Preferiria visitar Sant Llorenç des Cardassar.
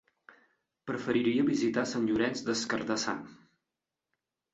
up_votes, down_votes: 2, 0